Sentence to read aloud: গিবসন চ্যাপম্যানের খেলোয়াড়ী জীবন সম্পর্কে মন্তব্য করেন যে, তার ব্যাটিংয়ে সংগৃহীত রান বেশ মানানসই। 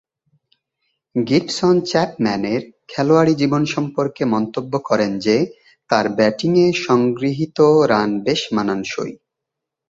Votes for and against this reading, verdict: 2, 0, accepted